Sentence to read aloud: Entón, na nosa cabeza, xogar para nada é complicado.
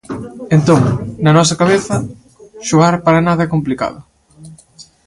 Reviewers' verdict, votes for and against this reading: rejected, 1, 2